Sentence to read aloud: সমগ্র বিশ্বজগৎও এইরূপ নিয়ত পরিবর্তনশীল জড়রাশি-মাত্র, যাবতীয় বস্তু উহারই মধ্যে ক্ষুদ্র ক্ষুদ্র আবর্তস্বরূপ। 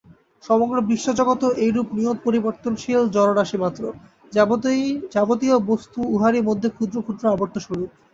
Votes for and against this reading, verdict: 0, 2, rejected